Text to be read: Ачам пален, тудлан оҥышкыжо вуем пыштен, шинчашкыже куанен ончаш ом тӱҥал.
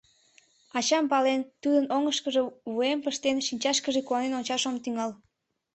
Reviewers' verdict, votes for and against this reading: rejected, 1, 2